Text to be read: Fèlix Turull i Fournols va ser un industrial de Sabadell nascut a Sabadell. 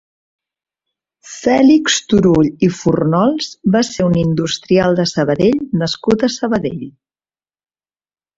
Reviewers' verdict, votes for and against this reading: rejected, 1, 2